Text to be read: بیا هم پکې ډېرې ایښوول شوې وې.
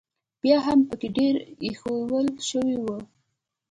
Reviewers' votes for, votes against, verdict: 3, 0, accepted